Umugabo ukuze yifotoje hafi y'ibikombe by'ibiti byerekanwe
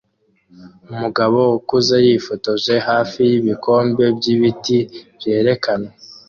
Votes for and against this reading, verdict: 2, 0, accepted